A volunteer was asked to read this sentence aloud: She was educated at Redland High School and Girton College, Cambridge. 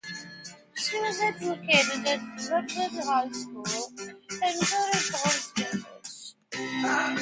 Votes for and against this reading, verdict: 1, 2, rejected